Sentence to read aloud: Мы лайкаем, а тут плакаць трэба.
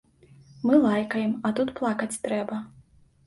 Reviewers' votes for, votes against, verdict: 2, 0, accepted